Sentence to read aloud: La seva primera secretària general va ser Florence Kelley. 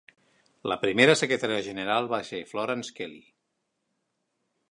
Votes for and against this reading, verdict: 1, 2, rejected